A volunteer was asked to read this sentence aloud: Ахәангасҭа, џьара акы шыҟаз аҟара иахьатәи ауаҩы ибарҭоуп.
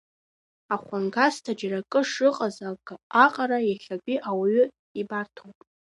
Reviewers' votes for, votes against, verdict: 0, 2, rejected